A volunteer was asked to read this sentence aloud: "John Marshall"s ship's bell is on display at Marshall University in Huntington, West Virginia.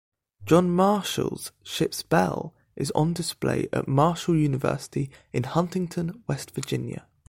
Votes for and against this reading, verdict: 3, 0, accepted